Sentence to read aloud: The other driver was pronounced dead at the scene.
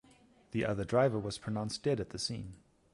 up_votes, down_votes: 4, 0